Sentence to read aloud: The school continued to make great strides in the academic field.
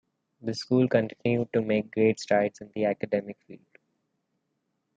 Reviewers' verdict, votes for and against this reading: rejected, 0, 2